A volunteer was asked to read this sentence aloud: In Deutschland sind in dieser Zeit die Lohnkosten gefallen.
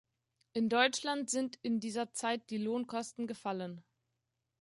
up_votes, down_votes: 2, 0